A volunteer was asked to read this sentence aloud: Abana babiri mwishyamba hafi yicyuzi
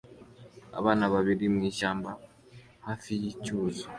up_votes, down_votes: 2, 0